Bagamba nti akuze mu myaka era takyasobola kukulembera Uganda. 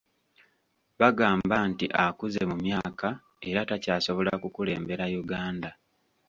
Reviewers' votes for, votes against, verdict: 2, 0, accepted